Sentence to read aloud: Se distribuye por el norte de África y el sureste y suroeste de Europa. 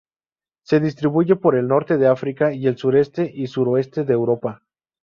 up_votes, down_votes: 2, 0